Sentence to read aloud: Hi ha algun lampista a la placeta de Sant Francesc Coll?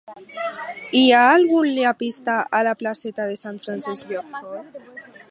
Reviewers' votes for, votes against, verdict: 2, 6, rejected